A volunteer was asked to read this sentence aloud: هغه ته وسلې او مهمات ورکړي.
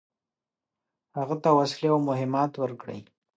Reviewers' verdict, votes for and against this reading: rejected, 1, 2